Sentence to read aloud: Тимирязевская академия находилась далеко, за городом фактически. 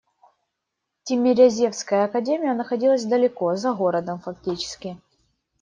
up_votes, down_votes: 1, 2